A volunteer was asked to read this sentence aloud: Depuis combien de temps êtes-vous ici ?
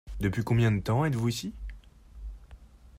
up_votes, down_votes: 2, 0